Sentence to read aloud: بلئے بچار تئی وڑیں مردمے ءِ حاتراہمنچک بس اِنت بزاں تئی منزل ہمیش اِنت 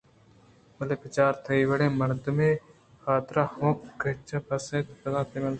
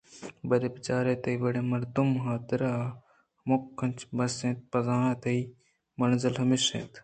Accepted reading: second